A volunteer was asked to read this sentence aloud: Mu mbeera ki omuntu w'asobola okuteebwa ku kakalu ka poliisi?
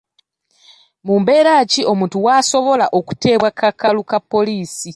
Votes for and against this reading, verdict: 0, 2, rejected